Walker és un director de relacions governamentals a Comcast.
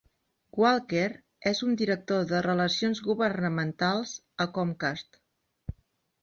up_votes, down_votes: 4, 0